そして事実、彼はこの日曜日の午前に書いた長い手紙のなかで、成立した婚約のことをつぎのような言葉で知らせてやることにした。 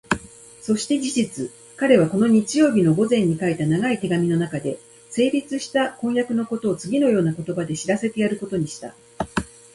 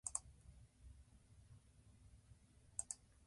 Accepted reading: first